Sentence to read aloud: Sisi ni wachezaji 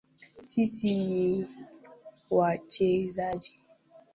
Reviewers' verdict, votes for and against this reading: accepted, 2, 1